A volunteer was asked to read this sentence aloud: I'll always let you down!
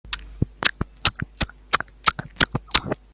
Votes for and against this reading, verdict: 0, 2, rejected